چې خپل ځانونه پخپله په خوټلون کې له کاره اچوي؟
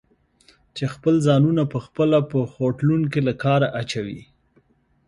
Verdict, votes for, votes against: accepted, 2, 0